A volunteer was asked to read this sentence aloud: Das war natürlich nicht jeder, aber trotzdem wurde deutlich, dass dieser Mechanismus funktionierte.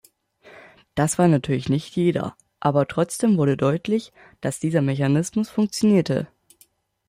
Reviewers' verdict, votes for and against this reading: accepted, 2, 0